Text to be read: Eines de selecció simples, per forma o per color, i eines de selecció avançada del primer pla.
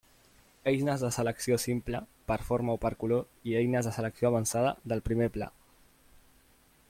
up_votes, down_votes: 2, 1